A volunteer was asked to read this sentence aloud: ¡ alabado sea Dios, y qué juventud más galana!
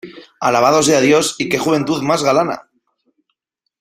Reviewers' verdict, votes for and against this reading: accepted, 2, 1